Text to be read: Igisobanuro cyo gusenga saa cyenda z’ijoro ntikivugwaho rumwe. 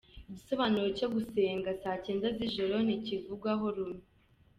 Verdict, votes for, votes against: accepted, 2, 0